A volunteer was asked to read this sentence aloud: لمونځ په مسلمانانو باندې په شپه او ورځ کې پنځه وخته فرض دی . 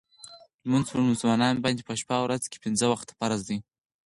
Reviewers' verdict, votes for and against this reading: accepted, 4, 0